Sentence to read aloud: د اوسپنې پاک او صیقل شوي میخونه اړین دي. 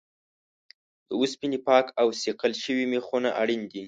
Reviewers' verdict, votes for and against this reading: accepted, 2, 0